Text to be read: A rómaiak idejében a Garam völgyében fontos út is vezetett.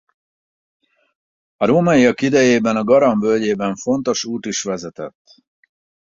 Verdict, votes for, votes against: accepted, 4, 0